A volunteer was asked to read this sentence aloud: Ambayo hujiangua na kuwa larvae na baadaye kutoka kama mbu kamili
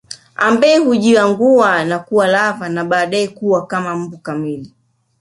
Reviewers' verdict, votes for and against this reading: accepted, 3, 2